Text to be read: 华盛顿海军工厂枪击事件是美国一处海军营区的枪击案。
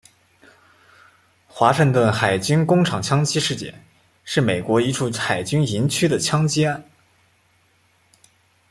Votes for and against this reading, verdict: 2, 1, accepted